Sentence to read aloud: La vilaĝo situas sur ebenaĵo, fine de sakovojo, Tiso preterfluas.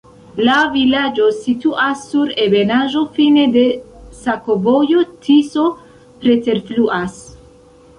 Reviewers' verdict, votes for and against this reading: rejected, 0, 2